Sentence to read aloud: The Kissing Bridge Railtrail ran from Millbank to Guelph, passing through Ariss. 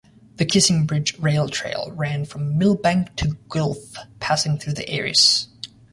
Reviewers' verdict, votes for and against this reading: rejected, 1, 2